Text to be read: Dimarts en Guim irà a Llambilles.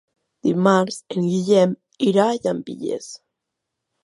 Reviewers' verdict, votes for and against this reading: rejected, 0, 3